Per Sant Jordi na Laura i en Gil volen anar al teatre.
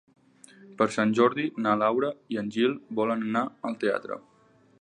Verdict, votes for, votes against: accepted, 5, 0